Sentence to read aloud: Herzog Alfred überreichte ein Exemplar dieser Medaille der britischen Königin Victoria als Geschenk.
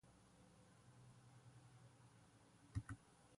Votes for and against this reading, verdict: 0, 2, rejected